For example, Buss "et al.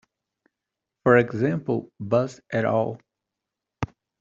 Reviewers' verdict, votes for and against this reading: accepted, 2, 0